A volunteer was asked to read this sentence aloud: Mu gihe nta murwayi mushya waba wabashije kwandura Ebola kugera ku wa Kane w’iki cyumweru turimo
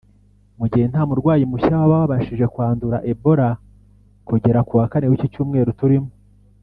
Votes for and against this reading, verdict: 1, 2, rejected